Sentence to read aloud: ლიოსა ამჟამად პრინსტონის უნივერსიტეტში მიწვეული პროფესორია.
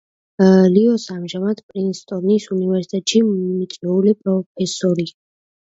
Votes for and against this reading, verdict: 1, 2, rejected